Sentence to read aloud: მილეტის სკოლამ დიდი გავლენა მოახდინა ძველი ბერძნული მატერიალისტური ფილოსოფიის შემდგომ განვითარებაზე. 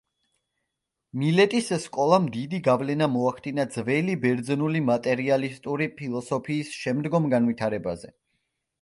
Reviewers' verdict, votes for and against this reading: accepted, 2, 0